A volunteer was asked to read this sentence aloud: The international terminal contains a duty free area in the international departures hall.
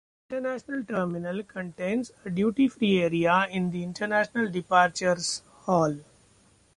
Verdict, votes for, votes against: accepted, 2, 1